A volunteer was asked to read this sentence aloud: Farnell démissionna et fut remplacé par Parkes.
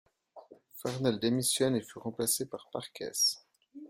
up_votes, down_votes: 0, 2